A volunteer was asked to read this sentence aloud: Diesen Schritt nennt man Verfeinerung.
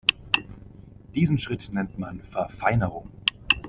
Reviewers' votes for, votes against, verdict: 2, 1, accepted